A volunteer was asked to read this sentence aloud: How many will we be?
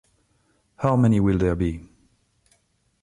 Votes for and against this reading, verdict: 1, 2, rejected